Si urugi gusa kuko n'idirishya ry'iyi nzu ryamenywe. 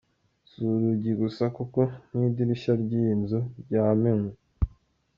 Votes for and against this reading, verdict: 2, 1, accepted